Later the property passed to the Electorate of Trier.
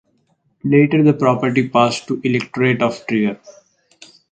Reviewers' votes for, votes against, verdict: 0, 4, rejected